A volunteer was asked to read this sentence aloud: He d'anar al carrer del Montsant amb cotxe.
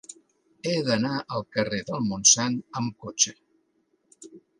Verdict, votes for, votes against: accepted, 2, 0